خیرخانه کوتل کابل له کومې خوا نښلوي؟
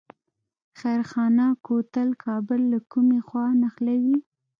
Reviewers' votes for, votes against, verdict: 2, 0, accepted